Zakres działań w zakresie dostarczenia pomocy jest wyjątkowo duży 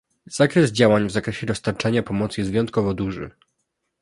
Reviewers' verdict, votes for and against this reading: accepted, 2, 0